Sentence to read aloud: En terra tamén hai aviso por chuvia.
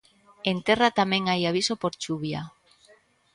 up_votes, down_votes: 1, 2